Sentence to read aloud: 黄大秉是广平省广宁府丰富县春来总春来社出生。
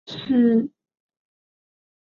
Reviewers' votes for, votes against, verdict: 2, 3, rejected